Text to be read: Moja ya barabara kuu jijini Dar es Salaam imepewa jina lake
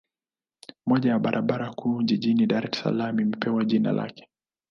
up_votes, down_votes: 2, 0